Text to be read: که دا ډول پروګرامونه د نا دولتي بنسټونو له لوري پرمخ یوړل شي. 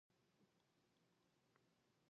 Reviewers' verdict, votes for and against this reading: rejected, 0, 3